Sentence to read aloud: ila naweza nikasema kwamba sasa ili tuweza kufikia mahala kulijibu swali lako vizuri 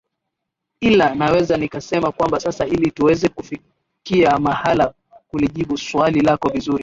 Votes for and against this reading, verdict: 0, 2, rejected